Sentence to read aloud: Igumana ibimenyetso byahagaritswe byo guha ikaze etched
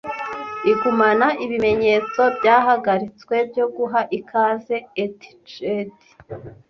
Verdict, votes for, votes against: accepted, 2, 0